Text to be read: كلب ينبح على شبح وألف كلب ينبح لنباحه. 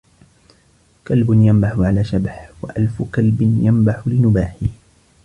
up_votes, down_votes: 2, 1